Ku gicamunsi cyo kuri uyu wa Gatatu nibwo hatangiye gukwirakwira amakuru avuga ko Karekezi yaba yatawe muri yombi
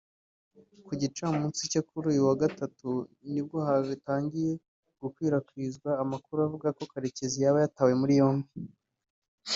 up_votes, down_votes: 0, 2